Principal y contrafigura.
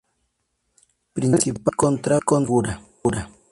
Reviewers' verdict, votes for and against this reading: rejected, 0, 4